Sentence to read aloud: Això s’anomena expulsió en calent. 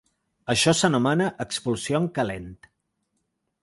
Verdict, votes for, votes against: accepted, 2, 0